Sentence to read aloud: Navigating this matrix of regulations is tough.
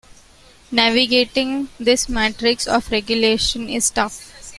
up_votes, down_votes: 0, 2